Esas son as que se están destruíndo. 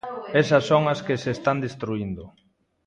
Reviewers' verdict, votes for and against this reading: accepted, 2, 1